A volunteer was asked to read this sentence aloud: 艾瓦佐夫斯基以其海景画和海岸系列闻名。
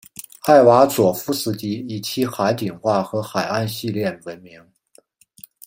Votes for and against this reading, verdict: 2, 0, accepted